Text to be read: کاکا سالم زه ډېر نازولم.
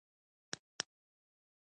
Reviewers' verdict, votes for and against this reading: accepted, 2, 0